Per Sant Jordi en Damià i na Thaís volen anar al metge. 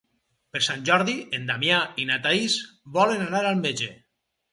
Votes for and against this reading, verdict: 4, 0, accepted